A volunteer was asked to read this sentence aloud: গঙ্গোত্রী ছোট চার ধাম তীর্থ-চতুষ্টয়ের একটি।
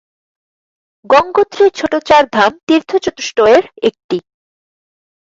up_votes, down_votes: 4, 2